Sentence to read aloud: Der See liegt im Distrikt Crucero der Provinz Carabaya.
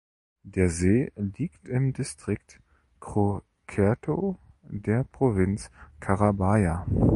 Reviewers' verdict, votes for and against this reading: rejected, 0, 3